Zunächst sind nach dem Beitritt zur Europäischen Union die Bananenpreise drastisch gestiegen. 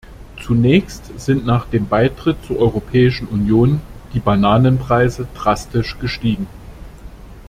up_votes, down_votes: 2, 0